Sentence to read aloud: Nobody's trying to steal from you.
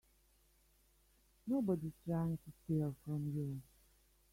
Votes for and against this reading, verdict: 1, 2, rejected